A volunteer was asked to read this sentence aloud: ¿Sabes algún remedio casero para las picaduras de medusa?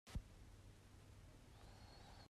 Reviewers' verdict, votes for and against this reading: rejected, 0, 2